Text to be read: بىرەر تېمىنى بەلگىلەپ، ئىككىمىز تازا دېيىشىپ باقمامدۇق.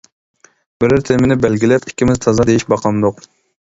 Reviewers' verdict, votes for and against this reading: rejected, 0, 2